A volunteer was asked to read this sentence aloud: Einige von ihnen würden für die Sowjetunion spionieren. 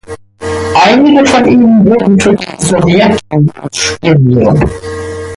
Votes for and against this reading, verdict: 0, 2, rejected